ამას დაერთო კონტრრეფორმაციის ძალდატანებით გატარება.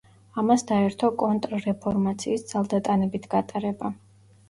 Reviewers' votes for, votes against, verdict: 1, 2, rejected